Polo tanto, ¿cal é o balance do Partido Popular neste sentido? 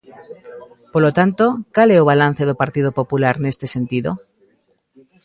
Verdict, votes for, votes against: rejected, 1, 2